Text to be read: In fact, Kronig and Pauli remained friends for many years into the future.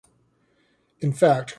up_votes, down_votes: 0, 2